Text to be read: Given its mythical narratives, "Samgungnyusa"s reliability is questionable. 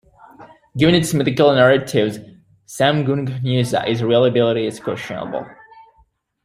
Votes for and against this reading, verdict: 1, 2, rejected